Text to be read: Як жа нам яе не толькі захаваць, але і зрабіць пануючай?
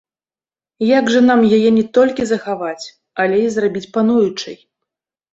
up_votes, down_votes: 1, 2